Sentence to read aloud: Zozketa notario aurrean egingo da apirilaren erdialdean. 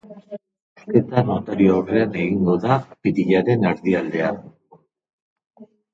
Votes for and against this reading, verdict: 0, 2, rejected